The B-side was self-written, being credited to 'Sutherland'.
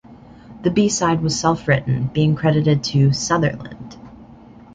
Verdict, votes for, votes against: accepted, 2, 0